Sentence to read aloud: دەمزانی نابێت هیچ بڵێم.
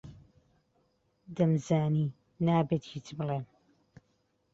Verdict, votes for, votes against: accepted, 2, 0